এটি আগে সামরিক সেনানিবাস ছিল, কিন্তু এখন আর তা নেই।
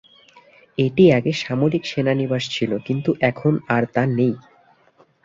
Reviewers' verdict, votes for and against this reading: accepted, 2, 0